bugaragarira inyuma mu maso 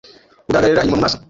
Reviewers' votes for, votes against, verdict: 1, 2, rejected